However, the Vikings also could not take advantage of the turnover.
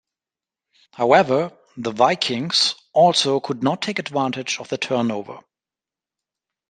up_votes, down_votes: 3, 0